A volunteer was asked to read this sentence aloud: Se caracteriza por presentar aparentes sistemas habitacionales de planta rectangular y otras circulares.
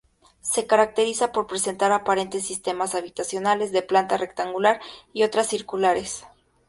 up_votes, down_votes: 4, 0